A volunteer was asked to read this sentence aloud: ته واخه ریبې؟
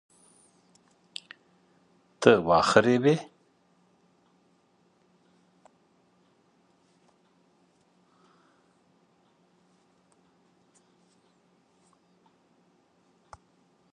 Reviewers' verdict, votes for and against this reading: rejected, 0, 2